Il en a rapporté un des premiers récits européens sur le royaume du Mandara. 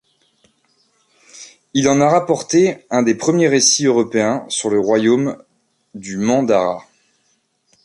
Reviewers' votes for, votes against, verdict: 2, 0, accepted